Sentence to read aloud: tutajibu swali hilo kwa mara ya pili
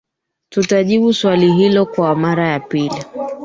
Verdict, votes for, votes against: rejected, 2, 3